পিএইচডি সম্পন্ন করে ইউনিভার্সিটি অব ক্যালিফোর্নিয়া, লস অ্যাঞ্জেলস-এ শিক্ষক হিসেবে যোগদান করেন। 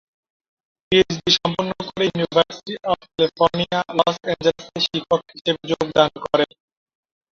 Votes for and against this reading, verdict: 2, 3, rejected